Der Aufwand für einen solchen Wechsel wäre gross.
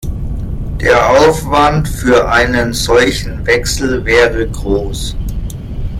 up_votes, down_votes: 1, 2